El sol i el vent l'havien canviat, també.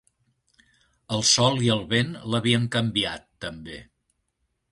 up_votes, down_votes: 2, 0